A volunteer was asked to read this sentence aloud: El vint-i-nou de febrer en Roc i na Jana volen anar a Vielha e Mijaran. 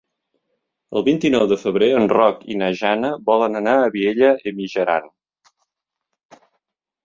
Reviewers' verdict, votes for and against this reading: accepted, 2, 0